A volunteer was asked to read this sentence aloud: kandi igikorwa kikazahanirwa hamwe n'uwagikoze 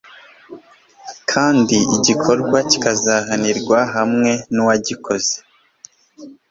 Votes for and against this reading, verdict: 2, 0, accepted